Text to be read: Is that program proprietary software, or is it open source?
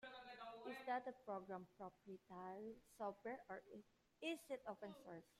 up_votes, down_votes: 0, 2